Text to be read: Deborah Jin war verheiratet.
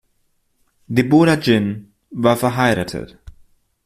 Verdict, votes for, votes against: accepted, 2, 1